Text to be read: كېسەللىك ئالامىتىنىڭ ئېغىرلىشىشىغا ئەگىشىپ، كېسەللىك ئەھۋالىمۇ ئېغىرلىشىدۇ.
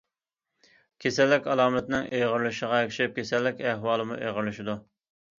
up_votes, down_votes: 2, 0